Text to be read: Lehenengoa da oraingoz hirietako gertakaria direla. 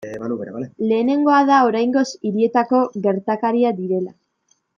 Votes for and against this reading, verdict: 1, 2, rejected